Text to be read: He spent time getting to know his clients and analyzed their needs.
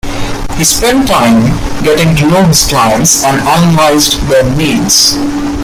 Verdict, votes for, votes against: rejected, 0, 2